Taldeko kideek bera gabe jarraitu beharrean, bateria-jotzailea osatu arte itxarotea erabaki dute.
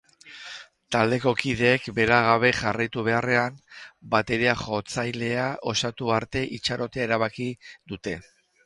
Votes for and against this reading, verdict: 4, 0, accepted